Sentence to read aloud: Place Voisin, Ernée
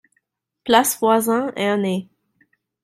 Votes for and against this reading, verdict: 2, 0, accepted